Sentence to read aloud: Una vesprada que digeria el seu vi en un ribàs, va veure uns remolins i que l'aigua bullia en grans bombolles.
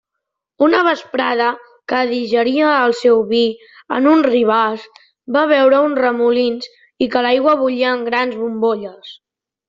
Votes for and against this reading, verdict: 3, 0, accepted